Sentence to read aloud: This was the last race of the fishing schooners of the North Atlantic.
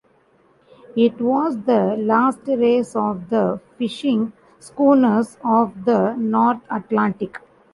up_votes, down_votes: 1, 2